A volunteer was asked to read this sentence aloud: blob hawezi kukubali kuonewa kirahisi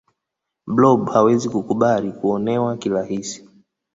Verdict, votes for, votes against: accepted, 2, 0